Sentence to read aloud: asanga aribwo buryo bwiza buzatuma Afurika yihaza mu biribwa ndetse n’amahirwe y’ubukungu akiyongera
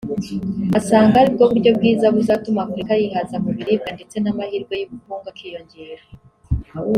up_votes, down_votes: 3, 0